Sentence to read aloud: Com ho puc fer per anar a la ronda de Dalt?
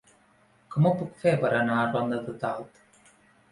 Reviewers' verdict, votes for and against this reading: rejected, 2, 3